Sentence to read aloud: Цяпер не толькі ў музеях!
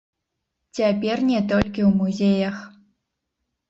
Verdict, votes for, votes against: rejected, 1, 3